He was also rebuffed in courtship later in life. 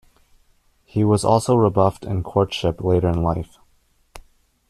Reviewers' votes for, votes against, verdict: 2, 0, accepted